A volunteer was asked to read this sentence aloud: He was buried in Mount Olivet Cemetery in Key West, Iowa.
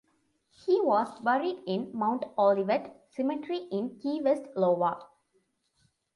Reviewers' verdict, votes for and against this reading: accepted, 2, 0